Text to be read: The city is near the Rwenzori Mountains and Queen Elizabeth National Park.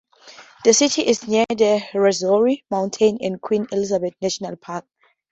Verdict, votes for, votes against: accepted, 2, 0